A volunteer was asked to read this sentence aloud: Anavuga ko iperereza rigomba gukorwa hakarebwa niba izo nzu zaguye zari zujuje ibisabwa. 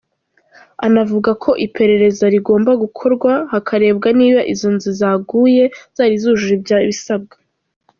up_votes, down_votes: 0, 2